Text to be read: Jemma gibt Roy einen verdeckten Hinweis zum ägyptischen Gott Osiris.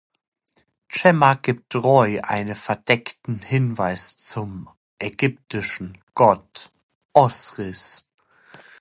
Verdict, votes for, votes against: rejected, 0, 2